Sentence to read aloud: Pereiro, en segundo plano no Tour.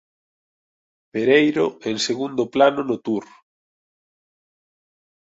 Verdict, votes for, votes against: accepted, 2, 0